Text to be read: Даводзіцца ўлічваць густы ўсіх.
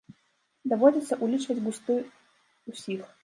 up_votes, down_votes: 0, 2